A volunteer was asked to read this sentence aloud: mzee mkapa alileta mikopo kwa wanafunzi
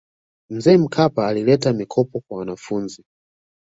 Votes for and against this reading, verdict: 2, 0, accepted